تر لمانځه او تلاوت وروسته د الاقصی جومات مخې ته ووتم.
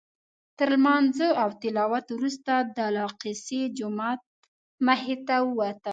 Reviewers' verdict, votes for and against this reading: rejected, 1, 2